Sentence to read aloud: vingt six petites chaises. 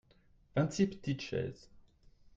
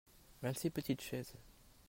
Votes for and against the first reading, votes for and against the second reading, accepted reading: 1, 2, 2, 0, second